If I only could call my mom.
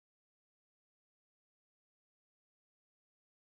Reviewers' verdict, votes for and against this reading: rejected, 0, 3